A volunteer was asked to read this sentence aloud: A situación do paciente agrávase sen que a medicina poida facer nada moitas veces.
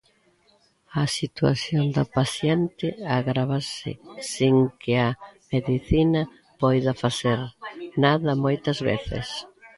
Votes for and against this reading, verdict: 1, 2, rejected